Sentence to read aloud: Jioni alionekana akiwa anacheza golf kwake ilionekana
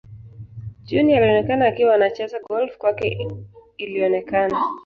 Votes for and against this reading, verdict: 2, 0, accepted